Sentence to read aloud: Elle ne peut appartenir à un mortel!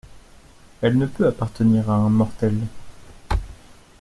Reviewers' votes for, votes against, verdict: 2, 1, accepted